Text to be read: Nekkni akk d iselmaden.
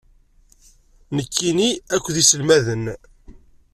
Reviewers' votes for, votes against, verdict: 1, 2, rejected